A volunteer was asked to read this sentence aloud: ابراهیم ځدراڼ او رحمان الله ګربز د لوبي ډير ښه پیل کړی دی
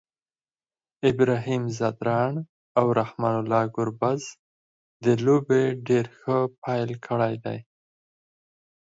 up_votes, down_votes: 4, 0